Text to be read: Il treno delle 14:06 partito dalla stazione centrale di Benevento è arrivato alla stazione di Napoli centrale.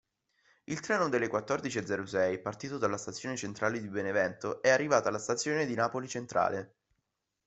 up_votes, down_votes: 0, 2